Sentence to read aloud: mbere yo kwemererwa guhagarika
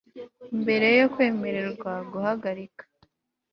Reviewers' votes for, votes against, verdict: 2, 0, accepted